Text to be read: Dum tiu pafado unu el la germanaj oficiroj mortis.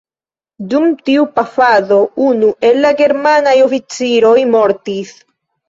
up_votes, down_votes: 2, 0